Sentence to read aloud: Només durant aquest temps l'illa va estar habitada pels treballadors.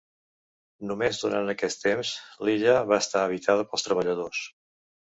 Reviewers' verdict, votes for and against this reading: accepted, 2, 0